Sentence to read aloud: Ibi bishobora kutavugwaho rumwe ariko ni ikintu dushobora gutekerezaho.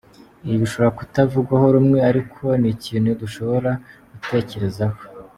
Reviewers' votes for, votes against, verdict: 2, 0, accepted